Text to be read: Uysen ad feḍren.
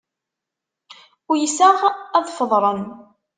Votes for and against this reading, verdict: 1, 2, rejected